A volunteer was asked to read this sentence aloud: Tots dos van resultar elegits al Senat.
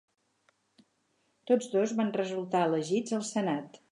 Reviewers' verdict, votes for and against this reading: accepted, 8, 0